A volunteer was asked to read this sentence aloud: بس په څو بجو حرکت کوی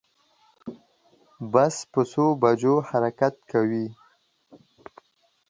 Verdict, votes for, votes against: accepted, 2, 0